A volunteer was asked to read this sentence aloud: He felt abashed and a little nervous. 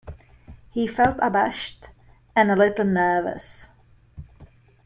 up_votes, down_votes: 2, 0